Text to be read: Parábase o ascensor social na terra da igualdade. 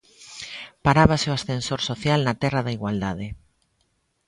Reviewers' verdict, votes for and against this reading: accepted, 2, 0